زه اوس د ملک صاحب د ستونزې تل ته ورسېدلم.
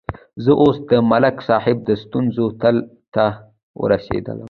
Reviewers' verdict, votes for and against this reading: accepted, 2, 0